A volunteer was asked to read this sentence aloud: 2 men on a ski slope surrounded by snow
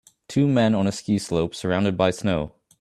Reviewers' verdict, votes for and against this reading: rejected, 0, 2